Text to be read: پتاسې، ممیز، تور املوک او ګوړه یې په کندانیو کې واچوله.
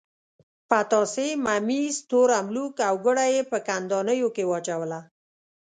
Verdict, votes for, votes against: accepted, 2, 0